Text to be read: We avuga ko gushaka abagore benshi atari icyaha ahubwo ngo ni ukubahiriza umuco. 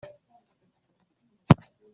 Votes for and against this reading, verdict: 0, 3, rejected